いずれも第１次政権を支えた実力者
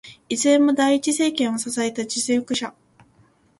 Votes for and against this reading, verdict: 0, 2, rejected